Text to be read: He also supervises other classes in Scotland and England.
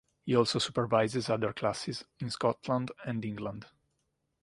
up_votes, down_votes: 2, 0